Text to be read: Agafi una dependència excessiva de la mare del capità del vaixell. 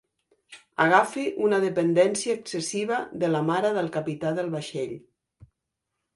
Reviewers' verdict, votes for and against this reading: accepted, 2, 0